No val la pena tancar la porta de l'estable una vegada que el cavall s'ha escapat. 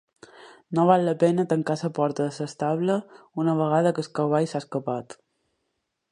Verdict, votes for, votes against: rejected, 1, 3